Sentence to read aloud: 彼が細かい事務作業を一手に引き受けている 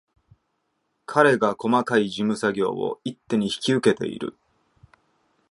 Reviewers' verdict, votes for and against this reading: accepted, 2, 0